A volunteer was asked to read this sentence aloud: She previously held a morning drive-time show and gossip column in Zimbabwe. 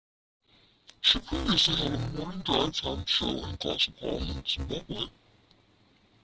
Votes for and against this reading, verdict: 1, 2, rejected